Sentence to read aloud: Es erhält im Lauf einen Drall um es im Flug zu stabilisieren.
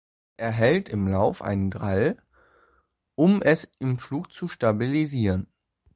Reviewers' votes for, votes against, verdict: 0, 2, rejected